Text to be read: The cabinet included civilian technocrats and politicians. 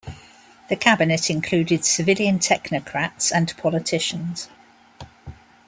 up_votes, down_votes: 2, 0